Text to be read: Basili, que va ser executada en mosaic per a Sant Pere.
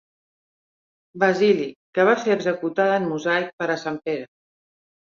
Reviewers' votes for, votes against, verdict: 2, 0, accepted